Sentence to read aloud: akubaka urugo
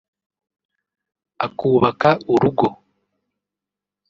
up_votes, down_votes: 1, 2